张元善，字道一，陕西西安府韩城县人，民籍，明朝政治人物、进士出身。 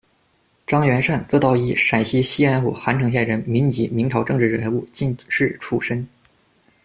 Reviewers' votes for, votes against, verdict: 2, 0, accepted